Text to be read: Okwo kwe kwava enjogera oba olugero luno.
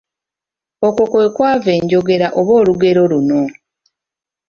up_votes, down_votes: 2, 0